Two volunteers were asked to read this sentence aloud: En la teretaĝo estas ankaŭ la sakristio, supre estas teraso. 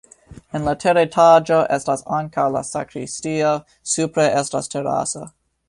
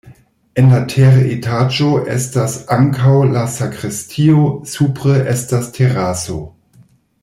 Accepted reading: first